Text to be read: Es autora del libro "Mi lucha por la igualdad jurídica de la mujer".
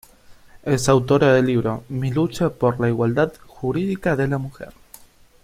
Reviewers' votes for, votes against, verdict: 2, 0, accepted